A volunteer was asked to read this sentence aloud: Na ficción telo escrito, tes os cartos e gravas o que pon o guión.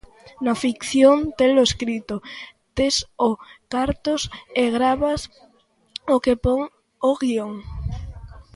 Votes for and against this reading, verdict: 0, 2, rejected